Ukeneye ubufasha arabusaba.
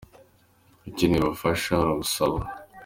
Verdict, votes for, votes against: accepted, 2, 0